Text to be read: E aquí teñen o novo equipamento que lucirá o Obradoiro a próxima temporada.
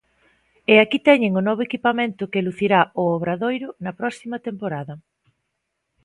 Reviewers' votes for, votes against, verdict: 1, 2, rejected